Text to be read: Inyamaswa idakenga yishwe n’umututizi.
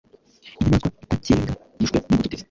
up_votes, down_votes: 2, 1